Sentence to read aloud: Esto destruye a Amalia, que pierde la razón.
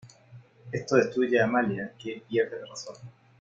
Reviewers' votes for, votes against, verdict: 2, 0, accepted